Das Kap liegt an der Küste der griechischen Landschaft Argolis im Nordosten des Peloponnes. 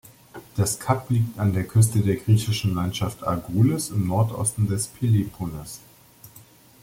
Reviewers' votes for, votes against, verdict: 0, 2, rejected